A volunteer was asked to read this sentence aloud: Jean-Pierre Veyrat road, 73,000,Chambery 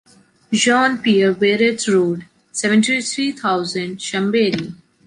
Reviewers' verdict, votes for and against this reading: rejected, 0, 2